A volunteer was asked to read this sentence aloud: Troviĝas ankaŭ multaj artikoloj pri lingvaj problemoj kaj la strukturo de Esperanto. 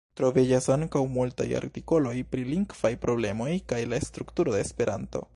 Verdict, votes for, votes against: rejected, 1, 2